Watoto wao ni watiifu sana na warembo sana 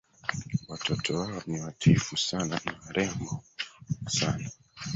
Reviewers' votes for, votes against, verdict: 0, 2, rejected